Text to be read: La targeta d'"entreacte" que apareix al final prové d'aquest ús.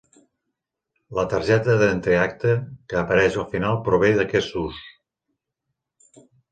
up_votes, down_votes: 1, 2